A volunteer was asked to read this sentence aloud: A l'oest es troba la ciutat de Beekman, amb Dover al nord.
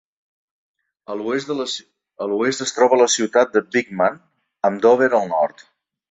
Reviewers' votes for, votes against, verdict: 1, 2, rejected